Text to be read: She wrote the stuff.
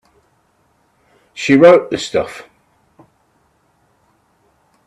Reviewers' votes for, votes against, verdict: 3, 0, accepted